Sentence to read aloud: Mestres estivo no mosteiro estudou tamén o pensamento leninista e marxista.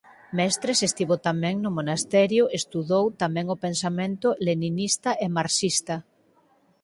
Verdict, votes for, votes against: rejected, 0, 4